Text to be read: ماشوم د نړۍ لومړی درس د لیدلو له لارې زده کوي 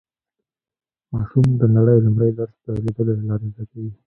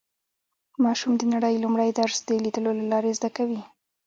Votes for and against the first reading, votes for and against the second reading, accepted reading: 0, 2, 2, 1, second